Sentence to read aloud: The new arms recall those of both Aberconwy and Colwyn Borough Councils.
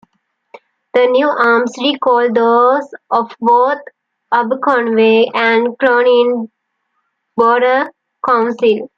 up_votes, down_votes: 1, 2